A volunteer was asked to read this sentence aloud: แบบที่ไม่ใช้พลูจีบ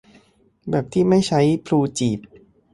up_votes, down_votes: 2, 0